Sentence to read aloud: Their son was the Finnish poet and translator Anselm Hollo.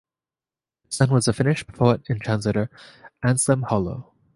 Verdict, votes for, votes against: rejected, 1, 2